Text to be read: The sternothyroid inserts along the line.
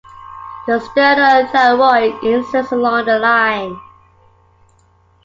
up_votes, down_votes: 1, 2